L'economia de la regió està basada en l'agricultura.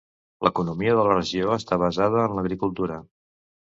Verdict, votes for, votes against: accepted, 2, 0